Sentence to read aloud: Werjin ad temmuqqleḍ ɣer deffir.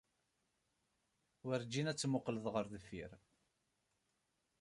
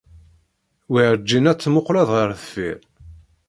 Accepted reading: first